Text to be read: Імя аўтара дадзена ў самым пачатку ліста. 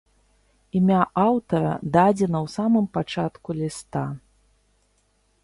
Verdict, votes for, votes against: accepted, 2, 0